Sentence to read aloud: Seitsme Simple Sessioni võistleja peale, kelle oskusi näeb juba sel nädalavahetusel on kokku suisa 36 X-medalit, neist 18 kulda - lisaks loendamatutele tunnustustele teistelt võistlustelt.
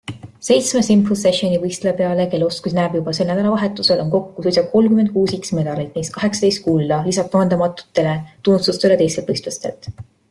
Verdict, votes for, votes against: rejected, 0, 2